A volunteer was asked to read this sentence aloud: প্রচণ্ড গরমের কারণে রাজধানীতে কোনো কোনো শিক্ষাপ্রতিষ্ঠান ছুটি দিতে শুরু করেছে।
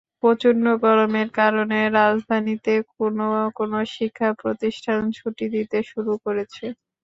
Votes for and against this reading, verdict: 2, 0, accepted